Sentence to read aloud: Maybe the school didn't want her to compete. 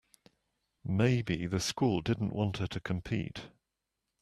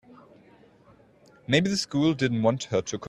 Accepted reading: first